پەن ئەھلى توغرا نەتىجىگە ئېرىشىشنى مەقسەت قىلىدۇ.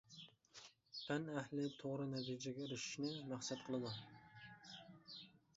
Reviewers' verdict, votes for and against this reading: accepted, 2, 0